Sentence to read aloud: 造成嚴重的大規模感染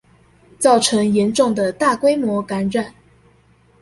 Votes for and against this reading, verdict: 2, 0, accepted